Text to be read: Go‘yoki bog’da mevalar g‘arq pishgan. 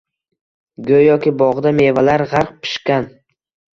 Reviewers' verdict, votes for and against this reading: accepted, 2, 0